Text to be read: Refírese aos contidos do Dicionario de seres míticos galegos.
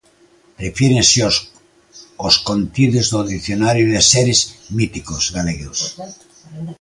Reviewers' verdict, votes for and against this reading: rejected, 0, 2